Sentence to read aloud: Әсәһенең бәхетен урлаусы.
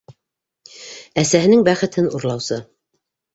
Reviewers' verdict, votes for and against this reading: accepted, 2, 0